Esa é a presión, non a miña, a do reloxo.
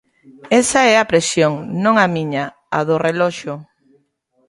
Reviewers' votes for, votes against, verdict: 2, 0, accepted